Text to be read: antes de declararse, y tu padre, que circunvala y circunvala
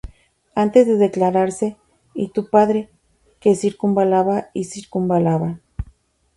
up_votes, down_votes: 0, 4